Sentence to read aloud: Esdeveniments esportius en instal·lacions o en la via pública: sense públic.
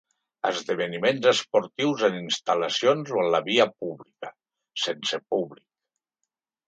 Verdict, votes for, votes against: accepted, 3, 0